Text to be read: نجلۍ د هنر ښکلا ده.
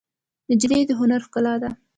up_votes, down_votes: 2, 0